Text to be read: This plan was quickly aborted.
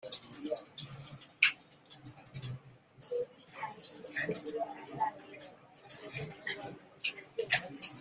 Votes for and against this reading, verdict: 0, 2, rejected